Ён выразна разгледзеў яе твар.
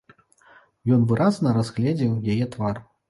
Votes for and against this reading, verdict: 2, 0, accepted